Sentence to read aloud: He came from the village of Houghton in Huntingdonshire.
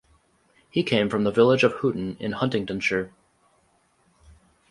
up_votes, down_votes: 4, 0